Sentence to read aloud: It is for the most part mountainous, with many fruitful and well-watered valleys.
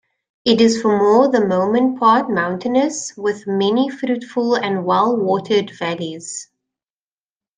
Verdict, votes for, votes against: rejected, 0, 2